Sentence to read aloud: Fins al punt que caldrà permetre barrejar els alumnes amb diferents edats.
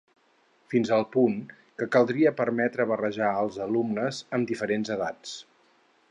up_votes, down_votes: 2, 4